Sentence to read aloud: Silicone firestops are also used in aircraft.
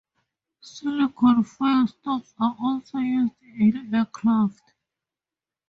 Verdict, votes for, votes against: rejected, 0, 4